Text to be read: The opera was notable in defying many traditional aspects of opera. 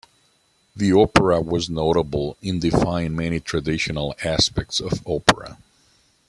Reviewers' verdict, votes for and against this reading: accepted, 2, 1